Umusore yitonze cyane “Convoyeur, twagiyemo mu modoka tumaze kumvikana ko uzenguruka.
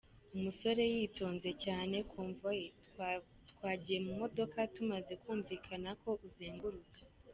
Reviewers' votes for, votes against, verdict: 2, 0, accepted